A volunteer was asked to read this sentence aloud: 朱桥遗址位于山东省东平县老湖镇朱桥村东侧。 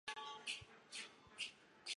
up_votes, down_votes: 0, 2